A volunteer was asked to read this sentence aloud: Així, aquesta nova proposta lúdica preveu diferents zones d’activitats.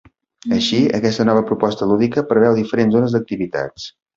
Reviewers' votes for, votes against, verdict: 2, 0, accepted